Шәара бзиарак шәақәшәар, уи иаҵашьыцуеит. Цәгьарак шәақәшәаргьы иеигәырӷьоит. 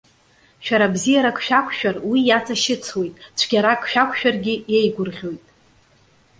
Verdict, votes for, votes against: accepted, 2, 0